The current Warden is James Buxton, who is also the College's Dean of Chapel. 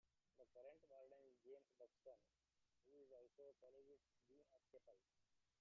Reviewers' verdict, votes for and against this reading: rejected, 1, 2